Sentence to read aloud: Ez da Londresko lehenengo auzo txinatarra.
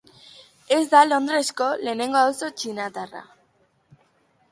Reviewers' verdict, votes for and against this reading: accepted, 2, 0